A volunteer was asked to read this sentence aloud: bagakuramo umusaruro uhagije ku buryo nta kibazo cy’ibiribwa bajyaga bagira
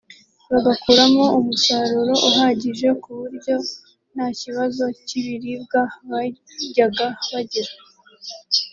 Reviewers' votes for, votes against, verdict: 2, 0, accepted